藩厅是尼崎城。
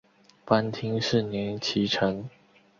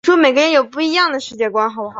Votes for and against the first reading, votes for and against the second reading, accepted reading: 2, 0, 1, 3, first